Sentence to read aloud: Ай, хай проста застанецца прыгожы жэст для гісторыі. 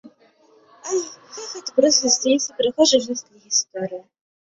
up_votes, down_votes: 0, 3